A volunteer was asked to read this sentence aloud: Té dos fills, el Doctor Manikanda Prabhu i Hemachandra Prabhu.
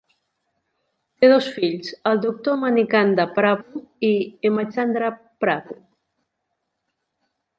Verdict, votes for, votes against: accepted, 2, 0